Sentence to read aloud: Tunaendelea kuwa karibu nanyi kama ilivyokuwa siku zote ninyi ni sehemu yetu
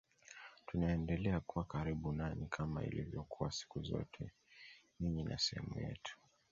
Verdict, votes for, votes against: accepted, 2, 0